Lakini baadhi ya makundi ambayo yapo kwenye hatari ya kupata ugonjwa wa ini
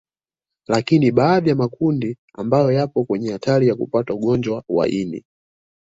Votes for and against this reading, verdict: 0, 2, rejected